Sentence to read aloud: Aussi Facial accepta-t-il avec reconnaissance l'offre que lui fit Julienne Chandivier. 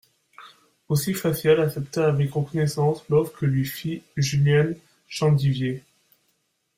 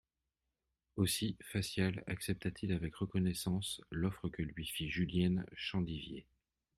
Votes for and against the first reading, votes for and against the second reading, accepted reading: 0, 2, 2, 0, second